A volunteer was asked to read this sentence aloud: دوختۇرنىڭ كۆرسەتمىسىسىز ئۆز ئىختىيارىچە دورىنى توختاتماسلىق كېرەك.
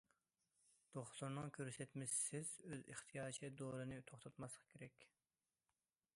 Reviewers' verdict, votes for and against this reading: accepted, 2, 0